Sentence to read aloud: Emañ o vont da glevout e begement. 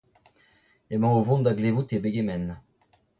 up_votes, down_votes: 1, 2